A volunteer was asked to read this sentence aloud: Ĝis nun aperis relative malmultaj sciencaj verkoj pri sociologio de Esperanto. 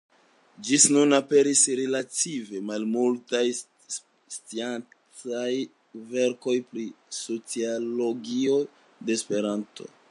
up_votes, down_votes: 2, 0